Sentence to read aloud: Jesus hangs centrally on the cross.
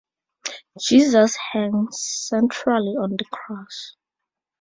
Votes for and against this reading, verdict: 4, 2, accepted